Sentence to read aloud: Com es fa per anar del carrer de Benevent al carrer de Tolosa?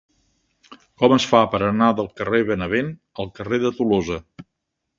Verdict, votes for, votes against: rejected, 1, 2